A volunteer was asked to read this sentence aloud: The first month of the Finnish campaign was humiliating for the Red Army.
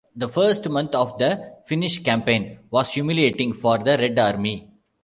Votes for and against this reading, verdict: 2, 0, accepted